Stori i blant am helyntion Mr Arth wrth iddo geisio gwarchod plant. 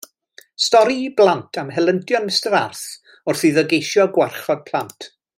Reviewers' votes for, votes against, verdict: 2, 0, accepted